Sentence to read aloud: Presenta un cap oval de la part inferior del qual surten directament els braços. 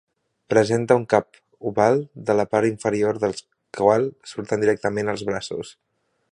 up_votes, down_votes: 1, 2